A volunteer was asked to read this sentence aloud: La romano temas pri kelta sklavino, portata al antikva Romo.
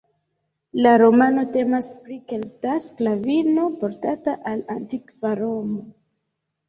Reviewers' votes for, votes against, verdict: 2, 0, accepted